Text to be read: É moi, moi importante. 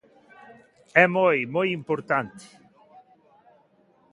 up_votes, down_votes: 2, 1